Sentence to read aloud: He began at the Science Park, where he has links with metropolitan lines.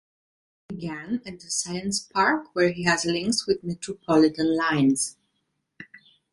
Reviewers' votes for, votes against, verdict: 0, 2, rejected